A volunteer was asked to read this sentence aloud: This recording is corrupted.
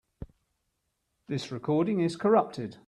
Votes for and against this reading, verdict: 2, 0, accepted